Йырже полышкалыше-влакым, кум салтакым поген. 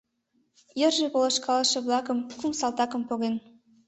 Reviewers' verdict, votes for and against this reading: accepted, 2, 0